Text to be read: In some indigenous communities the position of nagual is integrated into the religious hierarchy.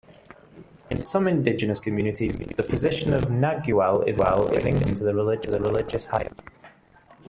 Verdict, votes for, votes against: rejected, 0, 2